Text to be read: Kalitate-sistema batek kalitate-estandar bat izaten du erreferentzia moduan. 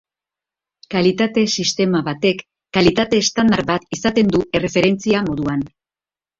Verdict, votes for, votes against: rejected, 1, 2